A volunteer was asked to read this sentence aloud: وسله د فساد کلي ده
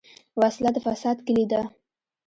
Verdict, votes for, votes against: accepted, 2, 1